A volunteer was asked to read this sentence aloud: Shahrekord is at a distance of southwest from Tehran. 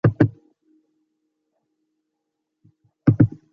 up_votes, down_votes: 0, 2